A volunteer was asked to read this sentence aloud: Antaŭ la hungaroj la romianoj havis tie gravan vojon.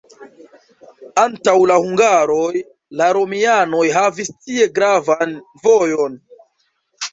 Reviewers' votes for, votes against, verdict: 0, 2, rejected